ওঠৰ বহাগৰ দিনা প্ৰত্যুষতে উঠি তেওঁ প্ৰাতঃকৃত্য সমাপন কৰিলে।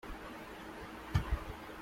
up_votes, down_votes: 0, 2